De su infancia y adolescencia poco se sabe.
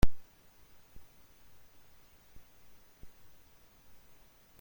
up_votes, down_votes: 0, 2